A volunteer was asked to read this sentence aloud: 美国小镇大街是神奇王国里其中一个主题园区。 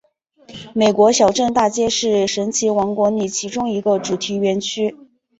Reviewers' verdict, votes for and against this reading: accepted, 2, 0